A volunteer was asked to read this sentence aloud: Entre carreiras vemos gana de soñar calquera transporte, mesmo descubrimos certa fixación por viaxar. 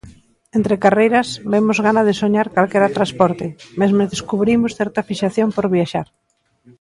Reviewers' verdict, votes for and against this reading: accepted, 2, 1